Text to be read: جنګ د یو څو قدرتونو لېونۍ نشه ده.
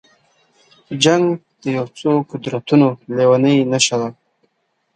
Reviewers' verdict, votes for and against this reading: accepted, 2, 1